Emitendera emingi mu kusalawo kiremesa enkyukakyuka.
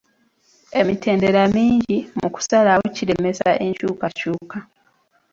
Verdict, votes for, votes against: rejected, 0, 2